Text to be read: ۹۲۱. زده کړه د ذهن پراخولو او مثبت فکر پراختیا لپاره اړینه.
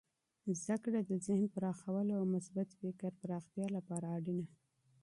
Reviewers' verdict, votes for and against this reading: rejected, 0, 2